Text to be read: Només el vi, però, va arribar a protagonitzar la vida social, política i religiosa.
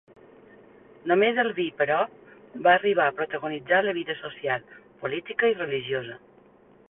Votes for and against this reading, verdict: 2, 0, accepted